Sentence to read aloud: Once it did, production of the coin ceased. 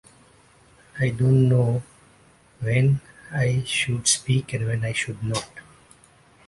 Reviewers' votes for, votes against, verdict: 0, 2, rejected